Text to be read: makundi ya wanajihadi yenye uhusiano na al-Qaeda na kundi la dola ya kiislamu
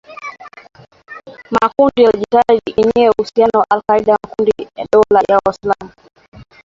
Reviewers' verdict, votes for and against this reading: rejected, 0, 2